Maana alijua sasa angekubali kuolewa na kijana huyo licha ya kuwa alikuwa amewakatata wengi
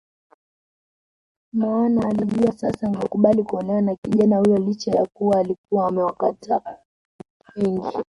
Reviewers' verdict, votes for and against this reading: rejected, 1, 2